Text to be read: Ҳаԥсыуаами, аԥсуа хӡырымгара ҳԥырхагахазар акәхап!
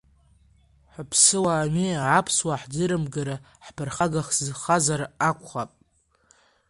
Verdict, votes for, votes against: rejected, 1, 2